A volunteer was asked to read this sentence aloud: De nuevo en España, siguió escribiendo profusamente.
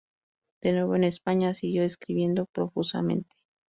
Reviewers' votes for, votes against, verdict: 4, 0, accepted